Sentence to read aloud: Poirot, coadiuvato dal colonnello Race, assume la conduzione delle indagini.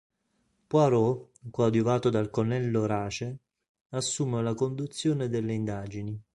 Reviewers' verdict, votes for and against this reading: rejected, 1, 2